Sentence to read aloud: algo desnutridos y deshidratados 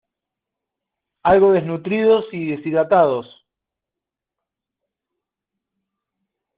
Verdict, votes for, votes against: accepted, 2, 0